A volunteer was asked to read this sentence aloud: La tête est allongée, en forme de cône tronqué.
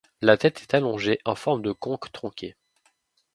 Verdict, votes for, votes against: rejected, 1, 2